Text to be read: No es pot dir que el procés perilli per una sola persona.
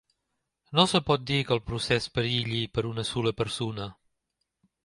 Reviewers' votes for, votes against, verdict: 0, 2, rejected